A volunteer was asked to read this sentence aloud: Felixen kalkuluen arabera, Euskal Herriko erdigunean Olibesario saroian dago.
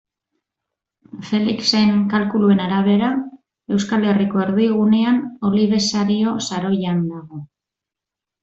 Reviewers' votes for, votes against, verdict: 2, 0, accepted